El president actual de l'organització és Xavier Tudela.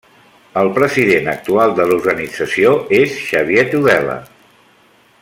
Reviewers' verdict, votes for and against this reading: accepted, 3, 0